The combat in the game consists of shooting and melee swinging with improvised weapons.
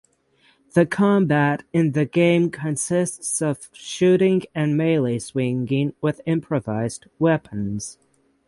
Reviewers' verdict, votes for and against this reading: accepted, 6, 3